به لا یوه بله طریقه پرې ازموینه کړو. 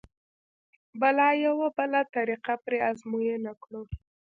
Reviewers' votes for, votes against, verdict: 1, 2, rejected